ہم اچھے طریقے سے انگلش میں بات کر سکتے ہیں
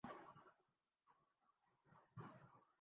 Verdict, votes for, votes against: rejected, 0, 5